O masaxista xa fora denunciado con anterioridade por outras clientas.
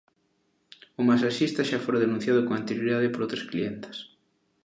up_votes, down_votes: 2, 1